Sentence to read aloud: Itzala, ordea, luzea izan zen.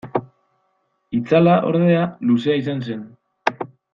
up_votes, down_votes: 2, 0